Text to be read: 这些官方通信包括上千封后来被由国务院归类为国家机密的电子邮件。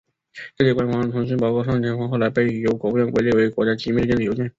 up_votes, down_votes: 2, 0